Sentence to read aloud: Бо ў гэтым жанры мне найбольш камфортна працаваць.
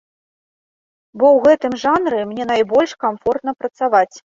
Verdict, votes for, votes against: accepted, 2, 0